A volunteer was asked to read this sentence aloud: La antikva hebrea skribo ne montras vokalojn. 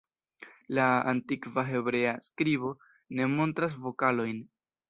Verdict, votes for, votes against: accepted, 2, 0